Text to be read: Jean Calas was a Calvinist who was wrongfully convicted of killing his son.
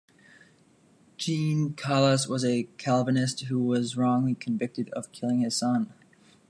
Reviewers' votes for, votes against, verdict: 0, 2, rejected